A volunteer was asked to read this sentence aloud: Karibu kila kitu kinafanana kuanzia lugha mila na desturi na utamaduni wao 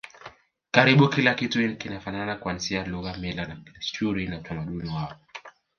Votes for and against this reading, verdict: 1, 2, rejected